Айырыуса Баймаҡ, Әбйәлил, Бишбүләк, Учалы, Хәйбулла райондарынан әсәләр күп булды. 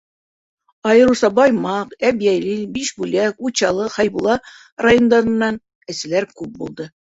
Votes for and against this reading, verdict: 2, 0, accepted